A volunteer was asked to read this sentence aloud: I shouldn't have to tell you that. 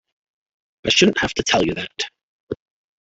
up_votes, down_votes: 2, 0